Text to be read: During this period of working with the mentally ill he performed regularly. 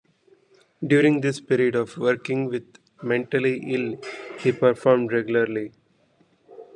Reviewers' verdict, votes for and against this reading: rejected, 1, 2